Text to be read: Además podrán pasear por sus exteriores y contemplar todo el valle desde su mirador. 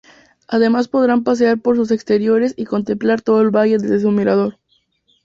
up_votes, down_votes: 2, 0